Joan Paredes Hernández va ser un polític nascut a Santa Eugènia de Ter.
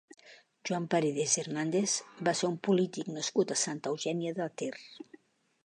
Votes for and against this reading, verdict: 2, 0, accepted